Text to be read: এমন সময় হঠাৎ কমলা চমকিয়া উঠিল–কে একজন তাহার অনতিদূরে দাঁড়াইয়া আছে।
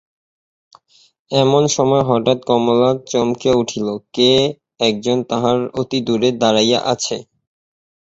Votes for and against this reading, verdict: 0, 2, rejected